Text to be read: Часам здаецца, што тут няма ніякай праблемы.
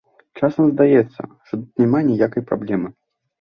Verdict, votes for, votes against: accepted, 2, 1